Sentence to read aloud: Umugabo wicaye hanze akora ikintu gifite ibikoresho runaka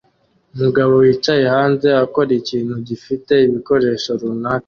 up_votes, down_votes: 2, 0